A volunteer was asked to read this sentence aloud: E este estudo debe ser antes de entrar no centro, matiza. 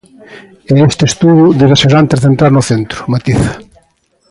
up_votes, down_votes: 1, 2